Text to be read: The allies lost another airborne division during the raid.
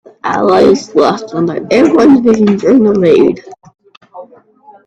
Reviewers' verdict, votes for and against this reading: rejected, 1, 2